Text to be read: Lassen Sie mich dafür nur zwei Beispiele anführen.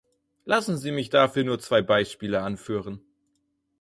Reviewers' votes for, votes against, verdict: 4, 0, accepted